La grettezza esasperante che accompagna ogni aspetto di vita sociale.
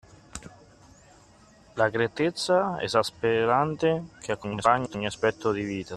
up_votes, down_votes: 0, 2